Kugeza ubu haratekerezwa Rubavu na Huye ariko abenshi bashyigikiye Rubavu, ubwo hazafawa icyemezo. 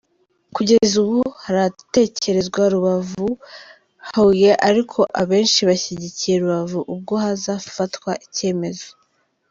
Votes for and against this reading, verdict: 1, 2, rejected